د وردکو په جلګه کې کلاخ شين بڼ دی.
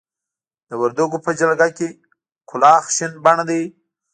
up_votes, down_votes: 1, 2